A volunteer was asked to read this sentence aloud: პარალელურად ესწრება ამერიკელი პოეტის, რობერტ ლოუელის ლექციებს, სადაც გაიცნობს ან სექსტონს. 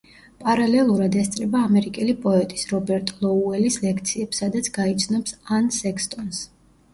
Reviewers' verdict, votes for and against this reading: rejected, 0, 2